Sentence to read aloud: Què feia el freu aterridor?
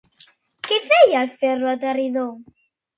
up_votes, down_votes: 0, 2